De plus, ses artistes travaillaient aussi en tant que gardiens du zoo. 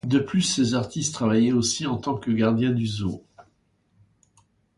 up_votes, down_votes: 2, 0